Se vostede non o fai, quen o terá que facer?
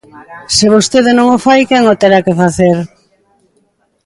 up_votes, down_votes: 2, 0